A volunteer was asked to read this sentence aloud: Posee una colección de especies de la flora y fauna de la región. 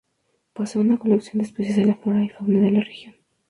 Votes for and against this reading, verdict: 0, 2, rejected